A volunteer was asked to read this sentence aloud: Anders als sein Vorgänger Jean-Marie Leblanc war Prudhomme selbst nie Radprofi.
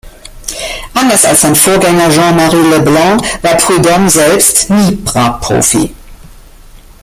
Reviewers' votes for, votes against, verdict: 0, 2, rejected